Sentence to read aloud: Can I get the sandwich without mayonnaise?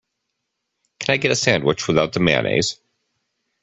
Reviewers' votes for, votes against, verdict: 0, 2, rejected